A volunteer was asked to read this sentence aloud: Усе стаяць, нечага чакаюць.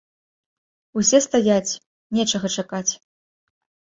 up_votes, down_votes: 1, 2